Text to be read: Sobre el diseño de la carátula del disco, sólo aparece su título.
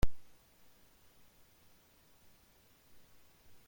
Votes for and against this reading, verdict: 0, 2, rejected